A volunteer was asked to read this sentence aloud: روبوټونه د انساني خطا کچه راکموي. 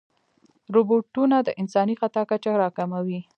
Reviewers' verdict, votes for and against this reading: accepted, 3, 1